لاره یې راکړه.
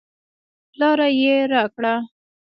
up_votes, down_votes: 0, 2